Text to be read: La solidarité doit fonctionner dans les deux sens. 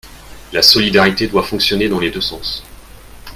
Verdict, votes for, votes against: accepted, 2, 0